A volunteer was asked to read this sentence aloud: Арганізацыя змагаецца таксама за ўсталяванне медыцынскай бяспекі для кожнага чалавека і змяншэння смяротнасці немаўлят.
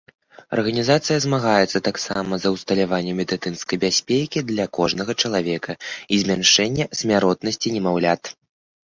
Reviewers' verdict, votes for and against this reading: rejected, 1, 2